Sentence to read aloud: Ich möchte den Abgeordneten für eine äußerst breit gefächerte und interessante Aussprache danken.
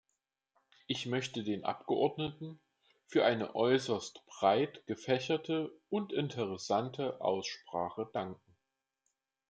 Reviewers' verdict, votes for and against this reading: accepted, 2, 0